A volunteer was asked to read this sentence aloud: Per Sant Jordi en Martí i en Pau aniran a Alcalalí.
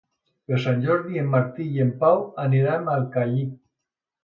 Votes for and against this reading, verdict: 0, 2, rejected